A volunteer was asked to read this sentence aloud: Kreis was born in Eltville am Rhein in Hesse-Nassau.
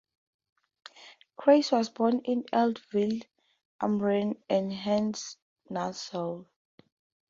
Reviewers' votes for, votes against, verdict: 2, 2, rejected